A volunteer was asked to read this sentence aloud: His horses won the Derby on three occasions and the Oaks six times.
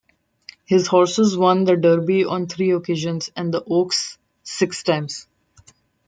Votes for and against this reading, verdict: 2, 0, accepted